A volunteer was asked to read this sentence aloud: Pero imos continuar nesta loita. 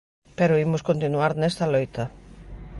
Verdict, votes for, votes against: rejected, 0, 2